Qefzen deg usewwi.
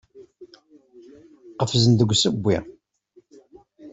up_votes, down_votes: 2, 0